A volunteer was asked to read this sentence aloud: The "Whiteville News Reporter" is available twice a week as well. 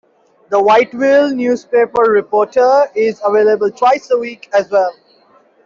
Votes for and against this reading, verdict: 2, 1, accepted